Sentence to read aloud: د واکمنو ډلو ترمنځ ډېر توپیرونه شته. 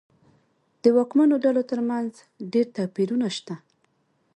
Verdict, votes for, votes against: accepted, 2, 0